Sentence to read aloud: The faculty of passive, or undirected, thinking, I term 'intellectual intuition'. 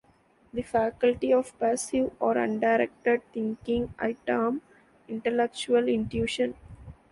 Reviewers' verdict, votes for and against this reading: accepted, 2, 0